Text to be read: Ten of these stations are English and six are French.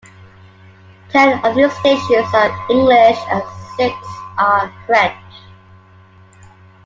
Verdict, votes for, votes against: accepted, 2, 1